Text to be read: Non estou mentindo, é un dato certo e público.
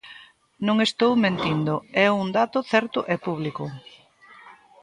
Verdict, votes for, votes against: accepted, 2, 0